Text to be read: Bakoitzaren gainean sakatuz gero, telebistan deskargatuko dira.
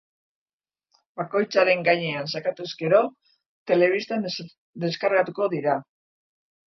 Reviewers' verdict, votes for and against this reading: rejected, 0, 2